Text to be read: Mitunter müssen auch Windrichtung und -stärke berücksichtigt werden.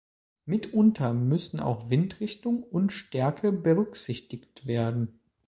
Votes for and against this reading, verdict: 3, 0, accepted